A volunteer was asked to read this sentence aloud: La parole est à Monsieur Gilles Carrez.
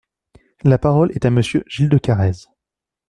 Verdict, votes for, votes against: rejected, 0, 2